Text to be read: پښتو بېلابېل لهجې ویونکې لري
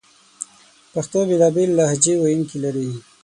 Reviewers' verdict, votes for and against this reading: accepted, 6, 0